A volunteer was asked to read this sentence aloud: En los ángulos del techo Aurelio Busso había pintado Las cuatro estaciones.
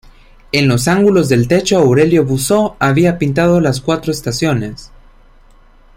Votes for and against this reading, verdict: 2, 1, accepted